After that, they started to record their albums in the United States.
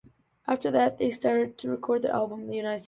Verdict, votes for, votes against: rejected, 0, 2